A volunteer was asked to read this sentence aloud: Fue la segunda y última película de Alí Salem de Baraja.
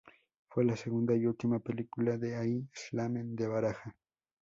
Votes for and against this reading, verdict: 0, 2, rejected